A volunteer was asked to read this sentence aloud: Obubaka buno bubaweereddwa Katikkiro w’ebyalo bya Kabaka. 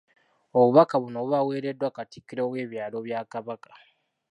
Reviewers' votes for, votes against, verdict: 2, 0, accepted